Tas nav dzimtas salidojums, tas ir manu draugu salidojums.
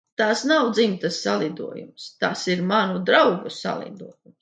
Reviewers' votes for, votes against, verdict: 2, 1, accepted